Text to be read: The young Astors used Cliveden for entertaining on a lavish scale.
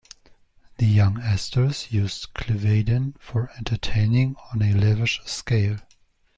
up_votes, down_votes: 2, 0